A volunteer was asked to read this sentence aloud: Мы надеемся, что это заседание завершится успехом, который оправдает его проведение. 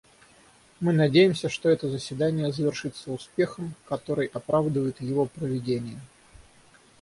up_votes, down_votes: 3, 6